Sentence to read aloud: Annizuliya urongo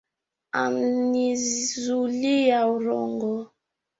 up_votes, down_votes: 1, 2